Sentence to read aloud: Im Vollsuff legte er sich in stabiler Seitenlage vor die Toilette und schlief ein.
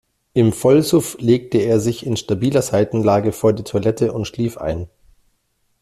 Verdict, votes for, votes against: accepted, 2, 0